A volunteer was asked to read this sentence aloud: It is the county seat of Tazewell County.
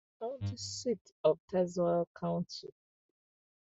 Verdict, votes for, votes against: rejected, 0, 2